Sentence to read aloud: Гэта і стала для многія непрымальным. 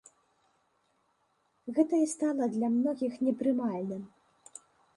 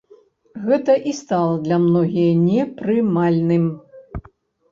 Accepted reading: second